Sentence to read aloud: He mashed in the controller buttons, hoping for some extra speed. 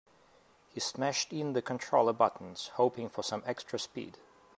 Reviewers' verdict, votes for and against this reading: rejected, 0, 2